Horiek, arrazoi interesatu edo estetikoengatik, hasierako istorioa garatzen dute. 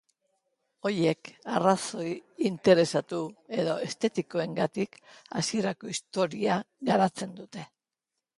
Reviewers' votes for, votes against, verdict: 0, 2, rejected